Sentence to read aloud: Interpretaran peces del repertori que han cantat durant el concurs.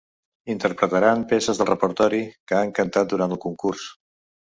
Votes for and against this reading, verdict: 2, 0, accepted